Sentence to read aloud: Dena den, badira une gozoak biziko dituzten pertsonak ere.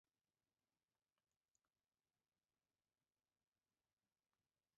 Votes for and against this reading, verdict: 0, 2, rejected